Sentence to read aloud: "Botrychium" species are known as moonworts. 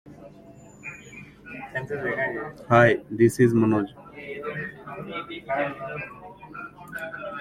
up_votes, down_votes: 0, 2